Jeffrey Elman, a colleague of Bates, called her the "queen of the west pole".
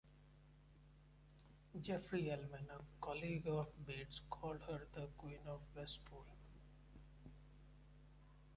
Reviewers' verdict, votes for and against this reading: rejected, 0, 2